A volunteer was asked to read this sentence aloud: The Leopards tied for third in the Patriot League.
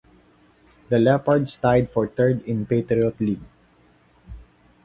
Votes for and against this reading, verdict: 1, 2, rejected